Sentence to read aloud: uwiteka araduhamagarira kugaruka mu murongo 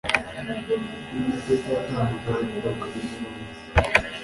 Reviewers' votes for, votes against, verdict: 1, 2, rejected